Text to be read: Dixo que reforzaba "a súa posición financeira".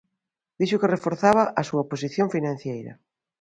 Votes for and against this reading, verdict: 0, 2, rejected